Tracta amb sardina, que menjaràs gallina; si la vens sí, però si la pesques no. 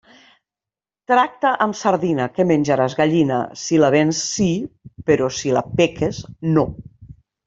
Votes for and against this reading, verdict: 0, 2, rejected